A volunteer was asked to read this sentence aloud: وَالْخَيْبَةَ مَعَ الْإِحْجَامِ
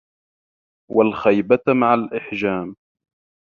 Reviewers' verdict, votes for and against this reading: accepted, 2, 1